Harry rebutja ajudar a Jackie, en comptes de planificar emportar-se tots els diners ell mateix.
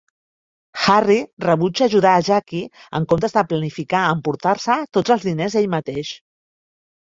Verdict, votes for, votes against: rejected, 1, 2